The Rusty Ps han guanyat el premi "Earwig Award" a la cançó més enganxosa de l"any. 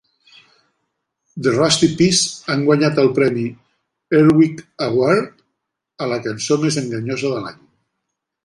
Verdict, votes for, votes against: rejected, 0, 2